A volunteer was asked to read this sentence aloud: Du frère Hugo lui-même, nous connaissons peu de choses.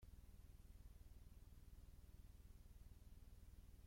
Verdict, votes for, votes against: rejected, 0, 2